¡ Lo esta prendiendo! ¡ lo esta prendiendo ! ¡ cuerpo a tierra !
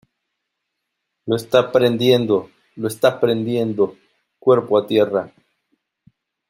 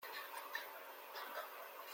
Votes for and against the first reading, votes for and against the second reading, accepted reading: 2, 0, 0, 2, first